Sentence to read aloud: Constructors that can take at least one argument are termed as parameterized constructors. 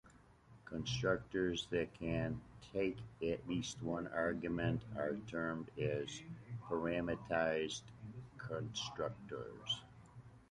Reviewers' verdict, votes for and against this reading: rejected, 1, 2